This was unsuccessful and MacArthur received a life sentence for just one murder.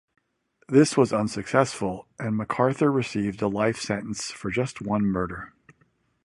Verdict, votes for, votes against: accepted, 2, 0